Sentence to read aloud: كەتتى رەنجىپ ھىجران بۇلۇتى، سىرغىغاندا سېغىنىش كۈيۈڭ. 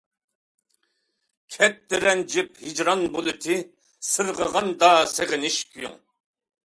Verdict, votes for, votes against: accepted, 2, 0